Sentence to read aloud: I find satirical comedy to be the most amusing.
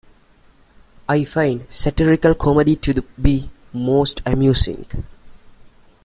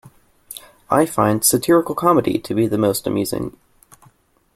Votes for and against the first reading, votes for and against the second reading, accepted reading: 1, 2, 2, 0, second